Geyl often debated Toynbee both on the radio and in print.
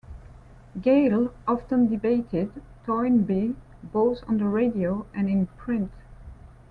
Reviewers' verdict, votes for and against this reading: accepted, 3, 0